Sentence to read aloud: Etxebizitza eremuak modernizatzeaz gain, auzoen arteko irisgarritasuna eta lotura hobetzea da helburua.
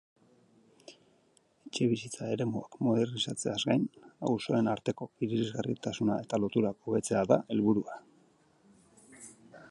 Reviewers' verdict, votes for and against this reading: accepted, 2, 0